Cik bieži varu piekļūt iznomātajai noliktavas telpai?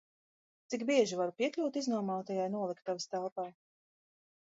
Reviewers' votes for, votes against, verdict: 2, 0, accepted